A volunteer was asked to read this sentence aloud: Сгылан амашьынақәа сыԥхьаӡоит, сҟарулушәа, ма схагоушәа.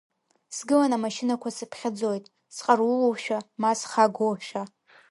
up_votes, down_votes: 2, 0